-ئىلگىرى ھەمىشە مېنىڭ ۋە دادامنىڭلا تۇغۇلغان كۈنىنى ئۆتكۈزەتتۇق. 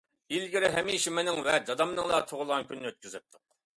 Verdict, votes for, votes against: accepted, 2, 0